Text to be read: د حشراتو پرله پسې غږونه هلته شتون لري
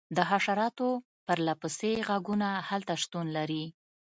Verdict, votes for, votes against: accepted, 3, 0